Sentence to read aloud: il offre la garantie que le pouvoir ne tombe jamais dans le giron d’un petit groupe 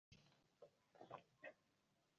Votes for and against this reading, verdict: 0, 2, rejected